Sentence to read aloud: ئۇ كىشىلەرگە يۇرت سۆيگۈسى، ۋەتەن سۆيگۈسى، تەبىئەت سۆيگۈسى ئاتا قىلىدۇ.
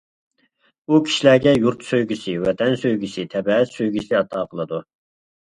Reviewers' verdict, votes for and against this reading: rejected, 1, 2